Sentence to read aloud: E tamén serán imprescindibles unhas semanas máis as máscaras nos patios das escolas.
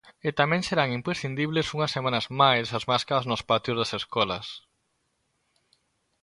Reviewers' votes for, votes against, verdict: 2, 0, accepted